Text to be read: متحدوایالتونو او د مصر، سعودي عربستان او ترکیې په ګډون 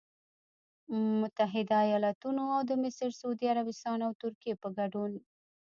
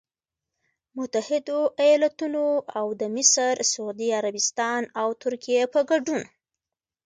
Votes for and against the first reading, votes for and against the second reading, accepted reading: 1, 2, 2, 0, second